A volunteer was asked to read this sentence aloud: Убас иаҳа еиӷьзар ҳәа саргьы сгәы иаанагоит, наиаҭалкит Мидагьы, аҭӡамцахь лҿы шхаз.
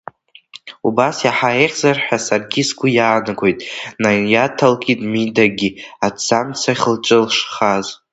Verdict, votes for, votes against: accepted, 2, 0